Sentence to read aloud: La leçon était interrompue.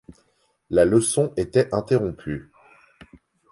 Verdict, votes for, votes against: accepted, 2, 0